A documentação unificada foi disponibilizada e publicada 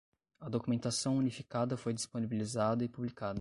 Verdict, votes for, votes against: rejected, 5, 5